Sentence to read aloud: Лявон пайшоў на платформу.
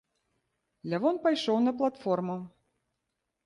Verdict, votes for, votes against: accepted, 2, 0